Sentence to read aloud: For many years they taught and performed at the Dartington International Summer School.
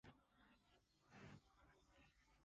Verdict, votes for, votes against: rejected, 0, 2